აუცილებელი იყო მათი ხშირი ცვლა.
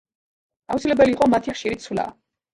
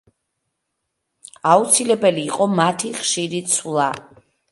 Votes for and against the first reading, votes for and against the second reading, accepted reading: 0, 2, 2, 0, second